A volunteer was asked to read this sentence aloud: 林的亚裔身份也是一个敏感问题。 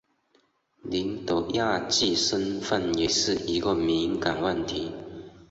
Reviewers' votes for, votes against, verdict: 2, 3, rejected